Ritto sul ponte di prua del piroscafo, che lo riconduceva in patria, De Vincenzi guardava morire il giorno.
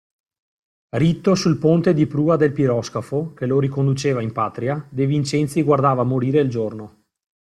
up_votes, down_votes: 2, 0